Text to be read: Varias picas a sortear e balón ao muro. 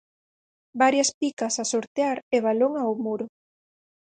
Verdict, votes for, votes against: accepted, 4, 0